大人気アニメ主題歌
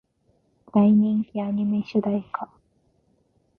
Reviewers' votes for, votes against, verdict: 1, 2, rejected